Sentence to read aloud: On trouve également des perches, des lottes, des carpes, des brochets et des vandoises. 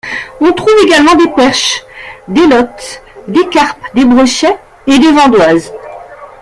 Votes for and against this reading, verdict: 2, 0, accepted